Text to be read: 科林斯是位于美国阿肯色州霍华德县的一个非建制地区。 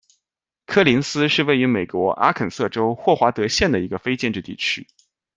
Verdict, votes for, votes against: accepted, 2, 0